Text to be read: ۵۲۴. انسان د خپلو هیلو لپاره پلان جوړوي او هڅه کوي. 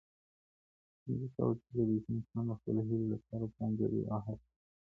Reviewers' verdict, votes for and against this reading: rejected, 0, 2